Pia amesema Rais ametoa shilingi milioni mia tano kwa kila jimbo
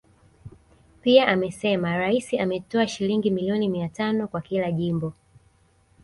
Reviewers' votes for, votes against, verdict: 2, 0, accepted